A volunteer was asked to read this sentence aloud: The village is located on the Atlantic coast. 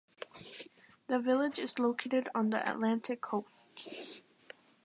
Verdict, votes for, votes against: accepted, 2, 1